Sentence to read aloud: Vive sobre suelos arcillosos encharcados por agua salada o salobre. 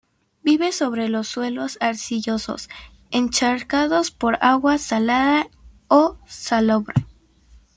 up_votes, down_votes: 2, 1